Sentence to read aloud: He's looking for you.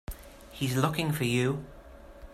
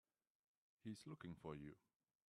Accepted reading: first